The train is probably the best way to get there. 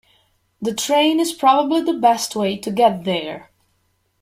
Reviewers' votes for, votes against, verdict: 2, 0, accepted